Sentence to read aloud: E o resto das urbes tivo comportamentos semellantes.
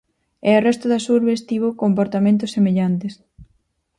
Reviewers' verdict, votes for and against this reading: accepted, 4, 0